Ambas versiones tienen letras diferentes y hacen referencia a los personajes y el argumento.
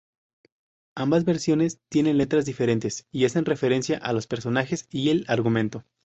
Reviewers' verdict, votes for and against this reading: rejected, 2, 2